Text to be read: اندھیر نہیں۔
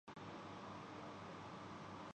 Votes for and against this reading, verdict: 0, 2, rejected